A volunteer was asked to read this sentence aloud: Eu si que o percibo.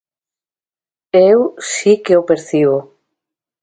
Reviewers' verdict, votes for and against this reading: accepted, 2, 0